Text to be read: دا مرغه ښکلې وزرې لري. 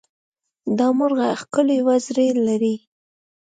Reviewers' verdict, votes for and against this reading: accepted, 2, 1